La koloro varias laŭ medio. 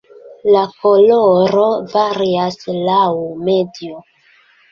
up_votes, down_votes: 1, 2